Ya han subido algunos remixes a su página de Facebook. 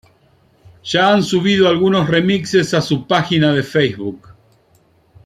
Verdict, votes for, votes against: accepted, 2, 0